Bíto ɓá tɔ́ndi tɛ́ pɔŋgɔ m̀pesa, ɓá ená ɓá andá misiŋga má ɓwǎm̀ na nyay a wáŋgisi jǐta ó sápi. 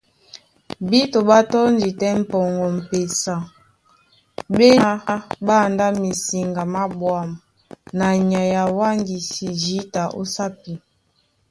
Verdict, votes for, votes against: rejected, 1, 2